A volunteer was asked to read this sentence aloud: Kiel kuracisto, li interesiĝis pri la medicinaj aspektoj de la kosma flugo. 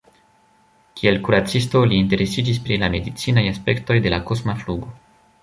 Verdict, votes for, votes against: accepted, 2, 0